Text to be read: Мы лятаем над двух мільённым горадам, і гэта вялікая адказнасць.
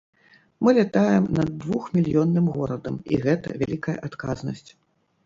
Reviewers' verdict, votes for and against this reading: accepted, 2, 0